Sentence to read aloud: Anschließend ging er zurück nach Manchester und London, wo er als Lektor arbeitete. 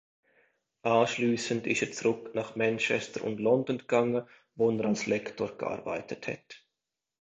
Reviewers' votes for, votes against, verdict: 0, 2, rejected